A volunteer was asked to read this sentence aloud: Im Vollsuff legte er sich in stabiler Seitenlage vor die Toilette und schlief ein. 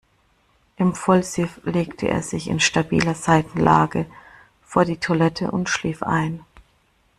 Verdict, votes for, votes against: rejected, 1, 2